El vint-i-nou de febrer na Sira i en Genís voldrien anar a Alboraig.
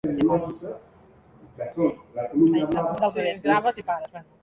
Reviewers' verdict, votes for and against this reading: rejected, 0, 3